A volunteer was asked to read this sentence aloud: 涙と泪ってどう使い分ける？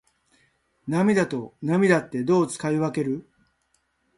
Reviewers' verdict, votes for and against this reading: accepted, 2, 0